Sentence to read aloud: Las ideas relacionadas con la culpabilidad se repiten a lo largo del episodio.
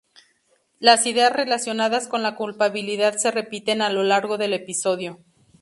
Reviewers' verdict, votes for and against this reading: accepted, 2, 0